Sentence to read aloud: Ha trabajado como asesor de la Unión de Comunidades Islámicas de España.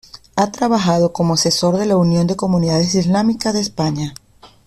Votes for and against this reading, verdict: 2, 0, accepted